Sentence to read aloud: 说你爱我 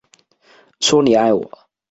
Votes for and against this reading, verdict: 2, 0, accepted